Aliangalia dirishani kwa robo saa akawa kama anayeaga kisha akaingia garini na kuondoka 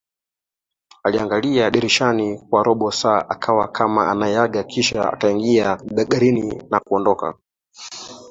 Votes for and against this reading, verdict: 1, 2, rejected